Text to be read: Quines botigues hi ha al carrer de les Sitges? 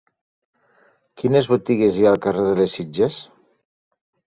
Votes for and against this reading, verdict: 2, 0, accepted